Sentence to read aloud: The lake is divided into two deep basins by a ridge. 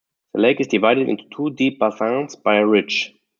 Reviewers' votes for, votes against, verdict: 1, 2, rejected